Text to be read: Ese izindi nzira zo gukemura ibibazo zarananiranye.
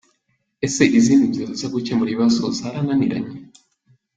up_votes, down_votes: 1, 2